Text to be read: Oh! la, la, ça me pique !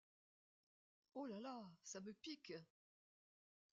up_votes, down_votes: 2, 0